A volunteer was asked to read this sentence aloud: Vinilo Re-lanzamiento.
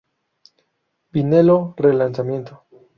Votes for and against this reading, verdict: 2, 2, rejected